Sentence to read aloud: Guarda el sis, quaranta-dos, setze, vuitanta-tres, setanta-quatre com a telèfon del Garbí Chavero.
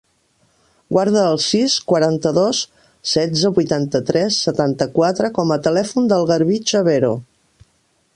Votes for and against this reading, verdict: 1, 2, rejected